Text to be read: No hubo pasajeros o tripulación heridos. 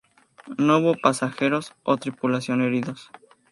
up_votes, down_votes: 2, 0